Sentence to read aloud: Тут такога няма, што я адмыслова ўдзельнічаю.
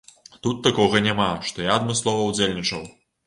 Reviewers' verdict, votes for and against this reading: rejected, 0, 3